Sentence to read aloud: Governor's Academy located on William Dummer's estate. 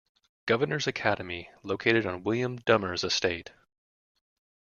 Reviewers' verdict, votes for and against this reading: accepted, 2, 0